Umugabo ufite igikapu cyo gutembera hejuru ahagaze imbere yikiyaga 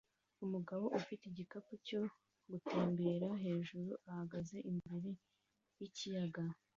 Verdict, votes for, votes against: accepted, 2, 0